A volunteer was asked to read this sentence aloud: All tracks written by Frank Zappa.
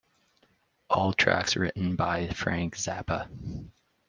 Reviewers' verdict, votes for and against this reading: accepted, 2, 0